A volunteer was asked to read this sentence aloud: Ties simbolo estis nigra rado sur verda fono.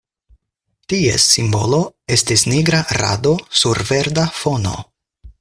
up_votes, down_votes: 4, 0